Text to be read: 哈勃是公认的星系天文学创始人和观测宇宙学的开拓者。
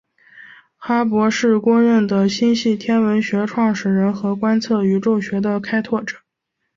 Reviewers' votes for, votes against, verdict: 2, 0, accepted